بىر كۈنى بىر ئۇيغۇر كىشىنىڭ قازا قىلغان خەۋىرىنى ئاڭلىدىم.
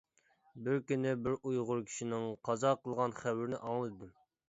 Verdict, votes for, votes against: rejected, 0, 2